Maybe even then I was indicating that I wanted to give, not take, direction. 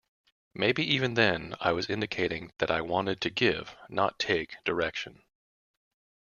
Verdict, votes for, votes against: accepted, 2, 0